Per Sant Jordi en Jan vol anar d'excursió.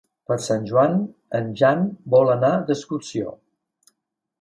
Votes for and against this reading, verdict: 0, 2, rejected